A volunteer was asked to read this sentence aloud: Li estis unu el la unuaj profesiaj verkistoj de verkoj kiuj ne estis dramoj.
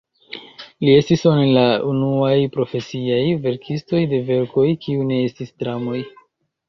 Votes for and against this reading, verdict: 0, 2, rejected